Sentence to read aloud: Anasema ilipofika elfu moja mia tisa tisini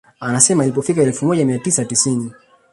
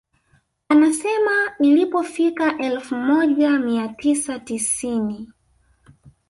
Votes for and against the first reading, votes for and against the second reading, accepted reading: 2, 0, 1, 2, first